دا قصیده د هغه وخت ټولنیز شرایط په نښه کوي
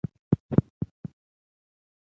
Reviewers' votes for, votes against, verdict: 1, 2, rejected